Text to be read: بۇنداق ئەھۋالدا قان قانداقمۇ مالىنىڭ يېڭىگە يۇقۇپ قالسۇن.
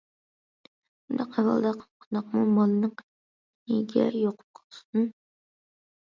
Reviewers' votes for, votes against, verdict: 0, 2, rejected